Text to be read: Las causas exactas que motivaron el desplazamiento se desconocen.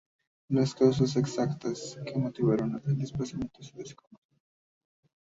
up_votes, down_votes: 0, 2